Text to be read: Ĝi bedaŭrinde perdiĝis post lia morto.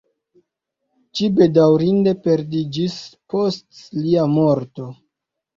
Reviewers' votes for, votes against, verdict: 1, 2, rejected